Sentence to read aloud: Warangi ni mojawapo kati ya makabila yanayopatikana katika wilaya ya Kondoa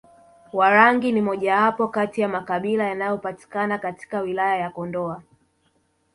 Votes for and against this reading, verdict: 4, 0, accepted